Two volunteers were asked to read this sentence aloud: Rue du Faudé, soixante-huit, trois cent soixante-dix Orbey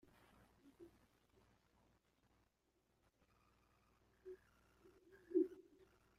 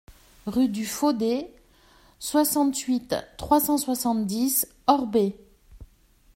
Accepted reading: second